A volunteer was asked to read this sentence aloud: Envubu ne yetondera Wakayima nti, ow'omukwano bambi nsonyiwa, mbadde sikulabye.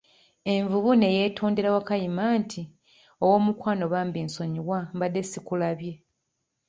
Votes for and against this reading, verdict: 2, 0, accepted